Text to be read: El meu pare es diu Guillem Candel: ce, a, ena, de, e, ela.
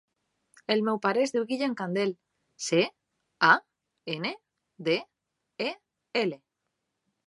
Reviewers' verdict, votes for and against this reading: rejected, 1, 2